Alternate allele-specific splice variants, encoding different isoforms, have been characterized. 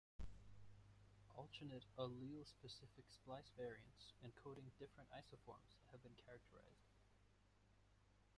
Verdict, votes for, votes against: rejected, 0, 2